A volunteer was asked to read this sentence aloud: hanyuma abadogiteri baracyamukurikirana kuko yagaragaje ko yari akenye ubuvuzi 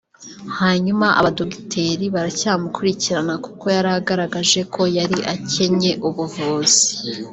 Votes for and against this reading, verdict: 1, 2, rejected